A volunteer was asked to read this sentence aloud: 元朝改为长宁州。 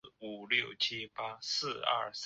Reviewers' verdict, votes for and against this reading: rejected, 0, 2